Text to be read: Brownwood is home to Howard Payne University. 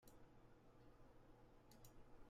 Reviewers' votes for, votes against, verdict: 0, 3, rejected